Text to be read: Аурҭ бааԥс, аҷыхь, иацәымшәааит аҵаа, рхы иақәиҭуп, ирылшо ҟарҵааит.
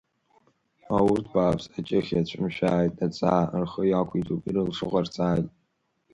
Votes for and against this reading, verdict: 1, 2, rejected